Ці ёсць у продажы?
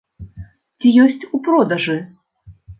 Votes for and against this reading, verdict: 2, 0, accepted